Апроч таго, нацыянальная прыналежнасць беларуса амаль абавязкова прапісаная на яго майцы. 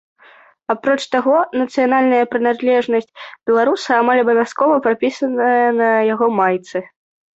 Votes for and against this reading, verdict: 1, 2, rejected